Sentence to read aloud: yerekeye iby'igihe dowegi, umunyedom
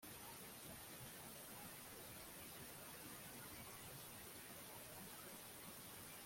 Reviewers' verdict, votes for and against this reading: rejected, 1, 2